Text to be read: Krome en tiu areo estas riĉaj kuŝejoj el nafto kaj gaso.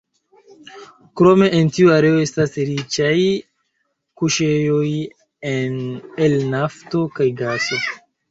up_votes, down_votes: 2, 0